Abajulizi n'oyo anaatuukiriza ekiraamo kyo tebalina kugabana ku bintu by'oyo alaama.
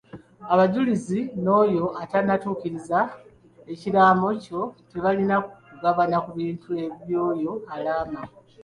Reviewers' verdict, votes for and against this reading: rejected, 1, 2